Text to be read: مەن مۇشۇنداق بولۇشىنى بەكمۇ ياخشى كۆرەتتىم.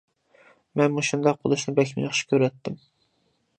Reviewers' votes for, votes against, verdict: 2, 0, accepted